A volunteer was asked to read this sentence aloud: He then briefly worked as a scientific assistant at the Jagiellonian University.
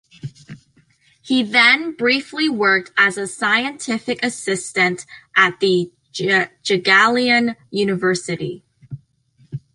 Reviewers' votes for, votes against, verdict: 0, 2, rejected